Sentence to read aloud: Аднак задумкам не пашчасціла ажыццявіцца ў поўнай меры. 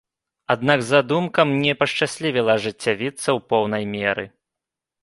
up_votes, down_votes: 1, 2